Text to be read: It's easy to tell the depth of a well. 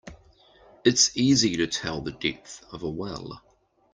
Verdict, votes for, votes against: accepted, 2, 0